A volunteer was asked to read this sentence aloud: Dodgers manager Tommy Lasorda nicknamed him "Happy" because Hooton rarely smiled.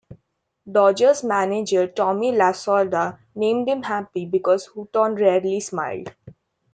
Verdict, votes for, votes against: rejected, 1, 2